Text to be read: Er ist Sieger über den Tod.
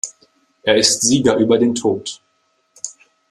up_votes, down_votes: 2, 0